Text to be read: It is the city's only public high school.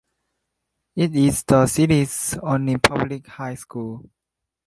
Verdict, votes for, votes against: accepted, 2, 0